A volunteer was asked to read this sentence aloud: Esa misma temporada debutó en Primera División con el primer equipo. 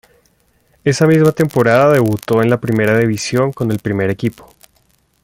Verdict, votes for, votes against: accepted, 2, 0